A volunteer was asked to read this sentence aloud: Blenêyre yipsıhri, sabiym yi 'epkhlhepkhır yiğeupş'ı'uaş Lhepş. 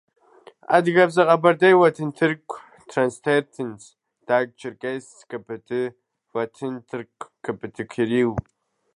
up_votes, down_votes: 0, 2